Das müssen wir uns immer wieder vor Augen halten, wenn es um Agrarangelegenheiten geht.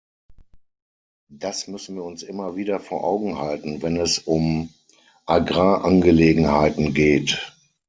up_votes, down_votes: 6, 0